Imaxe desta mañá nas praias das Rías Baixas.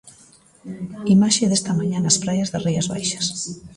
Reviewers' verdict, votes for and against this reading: rejected, 1, 2